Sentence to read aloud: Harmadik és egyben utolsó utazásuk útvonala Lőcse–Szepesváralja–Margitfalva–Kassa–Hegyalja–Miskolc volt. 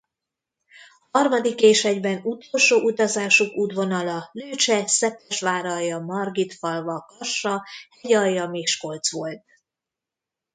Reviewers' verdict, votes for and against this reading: rejected, 1, 2